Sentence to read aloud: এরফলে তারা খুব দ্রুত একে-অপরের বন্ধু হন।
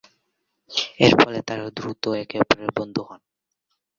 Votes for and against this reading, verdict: 1, 2, rejected